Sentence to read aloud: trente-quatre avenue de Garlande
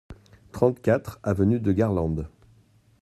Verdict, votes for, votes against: accepted, 2, 0